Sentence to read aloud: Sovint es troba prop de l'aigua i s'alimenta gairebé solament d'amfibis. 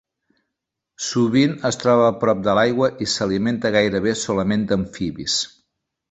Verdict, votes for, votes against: accepted, 2, 1